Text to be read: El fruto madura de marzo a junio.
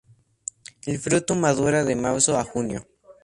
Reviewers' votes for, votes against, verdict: 2, 0, accepted